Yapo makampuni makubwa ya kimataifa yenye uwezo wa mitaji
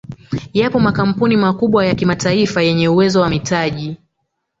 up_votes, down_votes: 3, 1